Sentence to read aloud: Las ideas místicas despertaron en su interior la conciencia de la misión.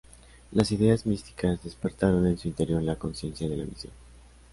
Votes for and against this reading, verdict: 2, 1, accepted